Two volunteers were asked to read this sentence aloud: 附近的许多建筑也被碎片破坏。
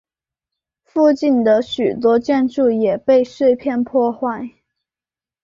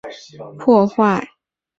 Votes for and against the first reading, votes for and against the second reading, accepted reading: 4, 0, 0, 5, first